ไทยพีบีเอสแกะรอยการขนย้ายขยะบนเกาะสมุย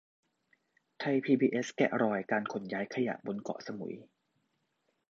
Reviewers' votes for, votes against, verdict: 2, 0, accepted